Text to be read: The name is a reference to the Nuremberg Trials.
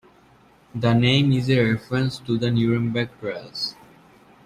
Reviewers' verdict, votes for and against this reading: accepted, 2, 1